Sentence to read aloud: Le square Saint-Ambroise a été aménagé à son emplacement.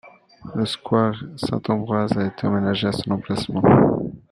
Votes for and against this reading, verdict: 0, 2, rejected